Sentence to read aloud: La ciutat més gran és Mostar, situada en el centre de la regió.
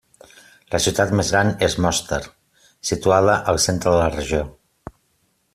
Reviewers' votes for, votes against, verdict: 0, 2, rejected